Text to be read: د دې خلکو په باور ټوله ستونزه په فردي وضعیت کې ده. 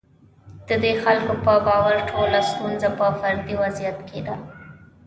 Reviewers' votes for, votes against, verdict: 1, 2, rejected